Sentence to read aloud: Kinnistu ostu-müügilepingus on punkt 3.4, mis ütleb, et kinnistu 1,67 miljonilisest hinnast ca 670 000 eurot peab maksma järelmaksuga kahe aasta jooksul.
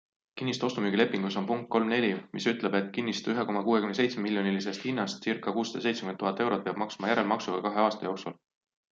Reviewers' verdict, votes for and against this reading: rejected, 0, 2